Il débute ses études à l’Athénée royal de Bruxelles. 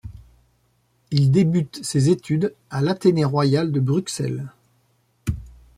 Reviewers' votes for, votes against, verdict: 2, 0, accepted